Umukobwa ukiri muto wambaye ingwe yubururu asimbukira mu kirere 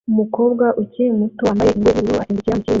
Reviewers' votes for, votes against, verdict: 1, 3, rejected